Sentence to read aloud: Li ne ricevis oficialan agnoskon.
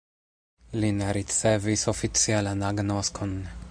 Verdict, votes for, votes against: rejected, 0, 2